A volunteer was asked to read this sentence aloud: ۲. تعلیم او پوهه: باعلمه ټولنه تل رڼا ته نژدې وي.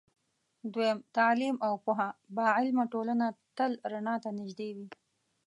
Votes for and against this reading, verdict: 0, 2, rejected